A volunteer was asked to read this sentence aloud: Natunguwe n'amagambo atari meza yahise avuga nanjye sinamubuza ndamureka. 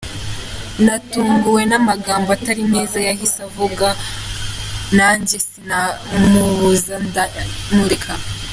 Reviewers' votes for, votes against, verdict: 1, 2, rejected